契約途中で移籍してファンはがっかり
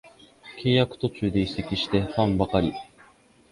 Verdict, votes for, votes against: rejected, 1, 2